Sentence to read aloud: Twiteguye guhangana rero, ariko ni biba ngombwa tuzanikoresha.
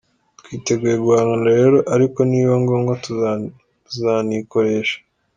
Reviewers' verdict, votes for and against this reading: accepted, 2, 0